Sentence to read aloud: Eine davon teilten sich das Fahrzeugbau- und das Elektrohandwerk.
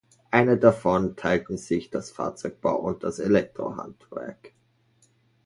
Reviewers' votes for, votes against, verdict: 2, 0, accepted